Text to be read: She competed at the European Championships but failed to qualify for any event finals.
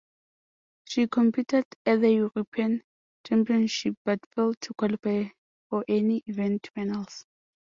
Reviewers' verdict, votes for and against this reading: accepted, 3, 0